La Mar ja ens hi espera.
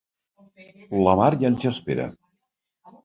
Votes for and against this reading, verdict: 2, 1, accepted